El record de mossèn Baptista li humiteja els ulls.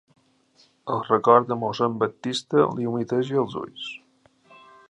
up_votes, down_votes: 2, 0